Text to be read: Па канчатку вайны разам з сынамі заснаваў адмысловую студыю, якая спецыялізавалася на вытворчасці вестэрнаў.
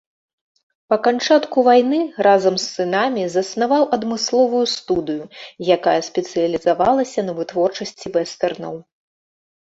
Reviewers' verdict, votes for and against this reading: accepted, 3, 0